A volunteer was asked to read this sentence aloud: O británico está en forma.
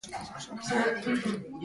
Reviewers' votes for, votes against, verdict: 0, 2, rejected